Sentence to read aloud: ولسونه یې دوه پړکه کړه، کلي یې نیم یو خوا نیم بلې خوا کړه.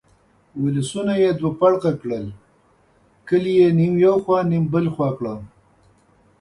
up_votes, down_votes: 0, 2